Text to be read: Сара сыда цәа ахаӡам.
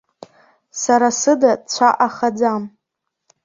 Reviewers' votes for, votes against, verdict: 2, 0, accepted